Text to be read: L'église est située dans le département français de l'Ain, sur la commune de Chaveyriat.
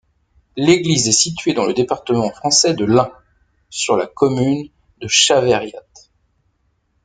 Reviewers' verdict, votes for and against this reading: rejected, 1, 2